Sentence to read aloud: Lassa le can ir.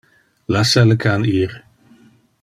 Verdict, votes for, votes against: accepted, 2, 0